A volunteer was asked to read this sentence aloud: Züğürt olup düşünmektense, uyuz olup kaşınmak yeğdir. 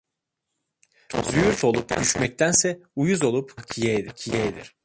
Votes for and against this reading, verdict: 0, 2, rejected